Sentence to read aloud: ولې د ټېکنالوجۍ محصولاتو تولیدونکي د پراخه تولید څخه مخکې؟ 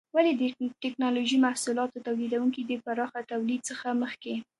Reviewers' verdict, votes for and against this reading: accepted, 2, 1